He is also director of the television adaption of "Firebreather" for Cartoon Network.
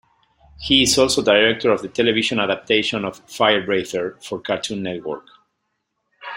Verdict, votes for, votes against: rejected, 1, 2